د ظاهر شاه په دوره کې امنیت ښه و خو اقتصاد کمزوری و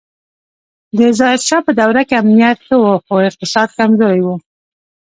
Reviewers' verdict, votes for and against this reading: rejected, 0, 2